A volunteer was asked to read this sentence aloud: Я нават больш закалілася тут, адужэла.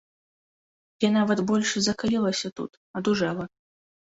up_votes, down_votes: 2, 0